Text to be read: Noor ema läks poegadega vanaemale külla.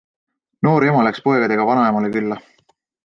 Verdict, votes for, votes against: accepted, 2, 0